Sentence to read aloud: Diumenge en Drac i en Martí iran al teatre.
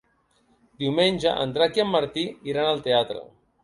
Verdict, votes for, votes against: accepted, 4, 0